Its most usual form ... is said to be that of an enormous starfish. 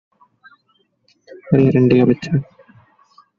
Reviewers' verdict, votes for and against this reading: rejected, 0, 2